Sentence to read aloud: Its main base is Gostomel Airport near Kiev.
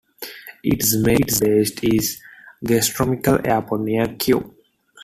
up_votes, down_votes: 1, 2